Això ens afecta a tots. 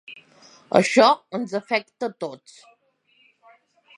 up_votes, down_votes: 3, 0